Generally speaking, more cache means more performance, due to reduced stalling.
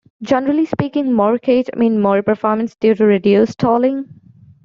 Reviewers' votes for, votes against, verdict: 1, 2, rejected